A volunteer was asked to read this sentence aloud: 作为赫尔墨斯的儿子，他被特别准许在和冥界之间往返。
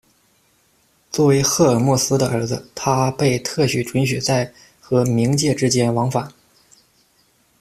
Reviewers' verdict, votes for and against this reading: rejected, 0, 2